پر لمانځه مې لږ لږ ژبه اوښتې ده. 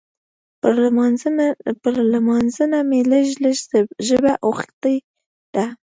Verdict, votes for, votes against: rejected, 0, 2